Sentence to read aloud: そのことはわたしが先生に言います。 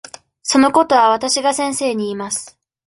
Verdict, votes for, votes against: accepted, 2, 0